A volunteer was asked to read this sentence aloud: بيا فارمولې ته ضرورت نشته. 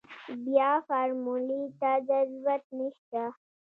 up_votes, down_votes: 0, 2